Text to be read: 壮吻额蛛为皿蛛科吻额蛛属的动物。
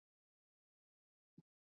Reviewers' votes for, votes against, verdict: 0, 2, rejected